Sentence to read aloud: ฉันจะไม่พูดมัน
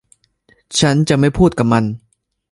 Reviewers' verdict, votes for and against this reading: rejected, 0, 2